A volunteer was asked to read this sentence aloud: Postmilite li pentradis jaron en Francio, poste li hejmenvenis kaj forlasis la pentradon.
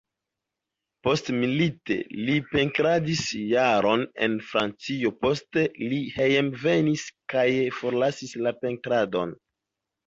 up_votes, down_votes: 1, 2